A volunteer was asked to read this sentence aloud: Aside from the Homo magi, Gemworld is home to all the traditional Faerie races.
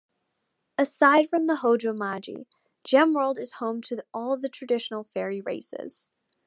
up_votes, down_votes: 0, 2